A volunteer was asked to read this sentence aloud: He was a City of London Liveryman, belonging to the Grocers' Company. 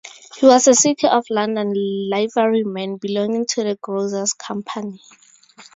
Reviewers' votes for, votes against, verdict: 2, 0, accepted